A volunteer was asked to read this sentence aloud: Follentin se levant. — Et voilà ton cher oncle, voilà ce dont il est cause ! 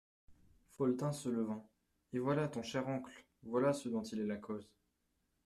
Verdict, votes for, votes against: rejected, 0, 2